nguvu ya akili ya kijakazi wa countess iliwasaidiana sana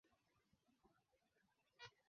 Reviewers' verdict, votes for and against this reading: rejected, 0, 2